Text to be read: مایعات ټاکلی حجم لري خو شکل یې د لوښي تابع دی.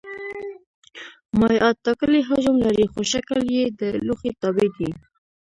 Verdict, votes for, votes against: rejected, 0, 2